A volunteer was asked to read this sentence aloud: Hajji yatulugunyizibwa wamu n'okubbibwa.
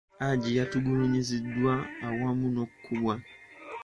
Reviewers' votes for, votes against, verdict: 1, 2, rejected